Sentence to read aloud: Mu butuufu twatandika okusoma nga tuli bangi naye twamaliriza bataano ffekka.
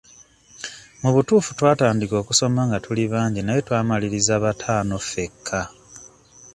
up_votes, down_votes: 2, 0